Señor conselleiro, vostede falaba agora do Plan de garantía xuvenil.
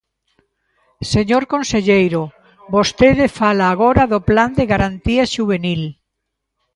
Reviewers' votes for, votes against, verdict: 0, 2, rejected